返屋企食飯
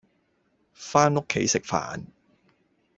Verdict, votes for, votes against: rejected, 0, 2